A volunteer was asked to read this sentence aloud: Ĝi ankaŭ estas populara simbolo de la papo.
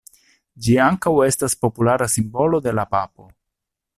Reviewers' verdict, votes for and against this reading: accepted, 2, 0